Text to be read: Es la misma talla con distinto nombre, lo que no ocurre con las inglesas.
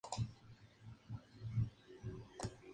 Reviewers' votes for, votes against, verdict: 0, 2, rejected